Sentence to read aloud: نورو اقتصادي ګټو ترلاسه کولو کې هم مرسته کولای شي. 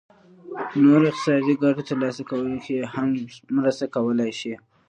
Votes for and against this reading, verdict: 0, 2, rejected